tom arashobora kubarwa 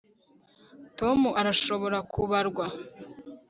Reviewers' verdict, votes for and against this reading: accepted, 2, 0